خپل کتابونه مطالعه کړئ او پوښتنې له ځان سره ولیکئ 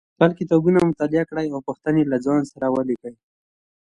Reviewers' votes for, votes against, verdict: 2, 0, accepted